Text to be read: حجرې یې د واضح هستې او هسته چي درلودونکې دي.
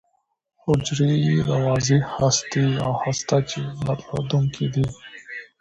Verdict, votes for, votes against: rejected, 0, 2